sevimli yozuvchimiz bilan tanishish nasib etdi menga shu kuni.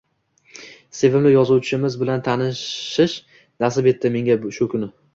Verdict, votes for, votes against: rejected, 1, 2